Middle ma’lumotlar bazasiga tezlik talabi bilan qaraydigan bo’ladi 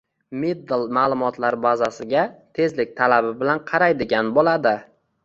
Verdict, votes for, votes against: accepted, 2, 0